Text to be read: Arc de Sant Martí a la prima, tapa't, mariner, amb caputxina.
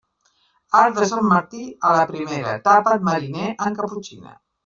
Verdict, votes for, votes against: rejected, 0, 2